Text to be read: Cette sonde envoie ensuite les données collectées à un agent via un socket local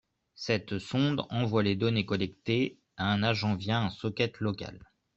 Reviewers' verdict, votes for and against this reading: rejected, 1, 2